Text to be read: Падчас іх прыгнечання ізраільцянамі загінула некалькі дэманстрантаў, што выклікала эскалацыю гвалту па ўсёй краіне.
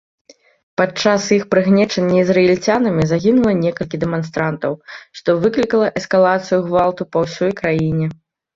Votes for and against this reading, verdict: 2, 0, accepted